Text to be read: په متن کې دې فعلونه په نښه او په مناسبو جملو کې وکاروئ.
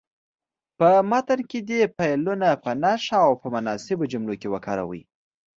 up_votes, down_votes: 2, 0